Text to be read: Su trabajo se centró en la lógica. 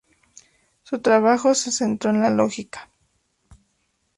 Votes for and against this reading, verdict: 0, 2, rejected